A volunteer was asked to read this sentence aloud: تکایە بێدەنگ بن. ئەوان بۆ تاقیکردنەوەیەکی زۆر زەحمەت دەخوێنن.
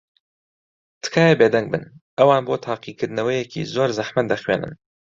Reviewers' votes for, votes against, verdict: 2, 0, accepted